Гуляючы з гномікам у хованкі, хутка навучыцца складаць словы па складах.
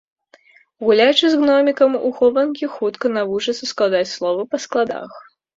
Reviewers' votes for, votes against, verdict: 2, 0, accepted